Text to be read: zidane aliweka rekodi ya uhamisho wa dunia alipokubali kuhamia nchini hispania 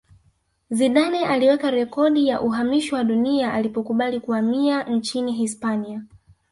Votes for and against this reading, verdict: 1, 2, rejected